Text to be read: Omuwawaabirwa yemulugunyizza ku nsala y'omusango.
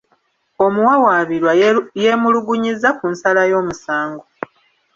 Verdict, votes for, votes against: rejected, 1, 2